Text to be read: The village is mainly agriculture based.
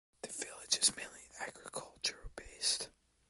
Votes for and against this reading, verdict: 1, 2, rejected